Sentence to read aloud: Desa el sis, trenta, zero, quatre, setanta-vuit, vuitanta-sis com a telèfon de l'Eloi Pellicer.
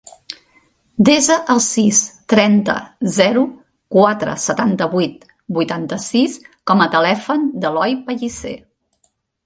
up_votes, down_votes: 1, 3